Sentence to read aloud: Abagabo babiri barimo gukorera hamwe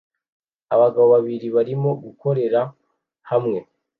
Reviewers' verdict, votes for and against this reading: accepted, 2, 0